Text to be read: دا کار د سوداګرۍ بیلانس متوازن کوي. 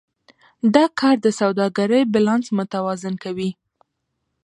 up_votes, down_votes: 1, 2